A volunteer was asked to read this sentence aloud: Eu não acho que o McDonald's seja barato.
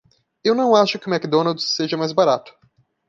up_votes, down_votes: 0, 2